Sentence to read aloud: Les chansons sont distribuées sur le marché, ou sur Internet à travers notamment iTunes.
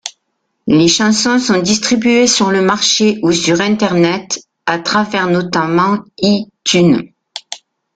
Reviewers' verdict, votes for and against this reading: rejected, 0, 2